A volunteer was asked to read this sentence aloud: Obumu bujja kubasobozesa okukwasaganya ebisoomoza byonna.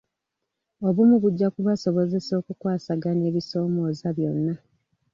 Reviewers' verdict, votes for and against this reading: accepted, 2, 0